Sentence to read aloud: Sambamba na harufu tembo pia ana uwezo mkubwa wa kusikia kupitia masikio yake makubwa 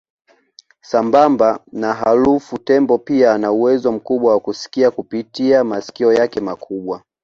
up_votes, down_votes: 2, 1